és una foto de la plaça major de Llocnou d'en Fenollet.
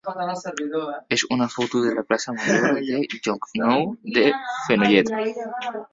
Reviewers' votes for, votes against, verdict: 0, 3, rejected